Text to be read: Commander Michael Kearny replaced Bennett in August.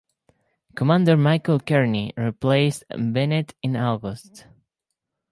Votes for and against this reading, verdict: 4, 0, accepted